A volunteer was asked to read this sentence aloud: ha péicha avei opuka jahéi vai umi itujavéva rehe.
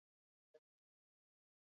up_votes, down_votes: 0, 2